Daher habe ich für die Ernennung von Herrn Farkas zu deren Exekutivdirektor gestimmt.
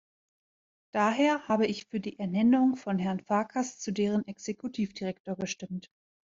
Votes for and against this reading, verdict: 2, 0, accepted